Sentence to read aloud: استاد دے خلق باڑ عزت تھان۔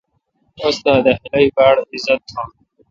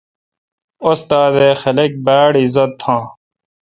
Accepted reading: first